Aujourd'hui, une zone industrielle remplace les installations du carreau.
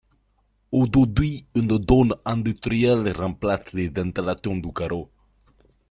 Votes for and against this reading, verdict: 0, 2, rejected